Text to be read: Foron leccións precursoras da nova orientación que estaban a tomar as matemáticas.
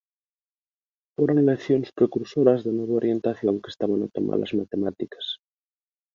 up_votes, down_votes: 1, 2